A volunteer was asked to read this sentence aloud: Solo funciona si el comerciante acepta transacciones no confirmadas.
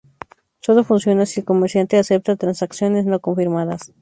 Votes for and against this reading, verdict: 0, 2, rejected